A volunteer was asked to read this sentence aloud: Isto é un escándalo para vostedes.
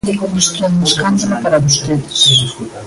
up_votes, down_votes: 0, 2